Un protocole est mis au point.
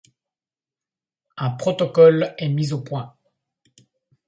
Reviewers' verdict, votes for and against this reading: accepted, 2, 0